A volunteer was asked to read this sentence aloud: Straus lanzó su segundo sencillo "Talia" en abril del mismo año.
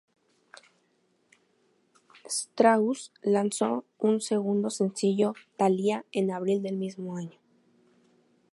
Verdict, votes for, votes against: rejected, 0, 2